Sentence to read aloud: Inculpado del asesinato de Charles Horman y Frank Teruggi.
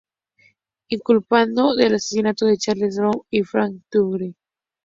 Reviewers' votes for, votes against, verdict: 2, 0, accepted